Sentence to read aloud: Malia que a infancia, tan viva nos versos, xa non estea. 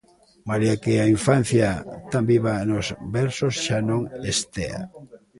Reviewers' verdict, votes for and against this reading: rejected, 1, 2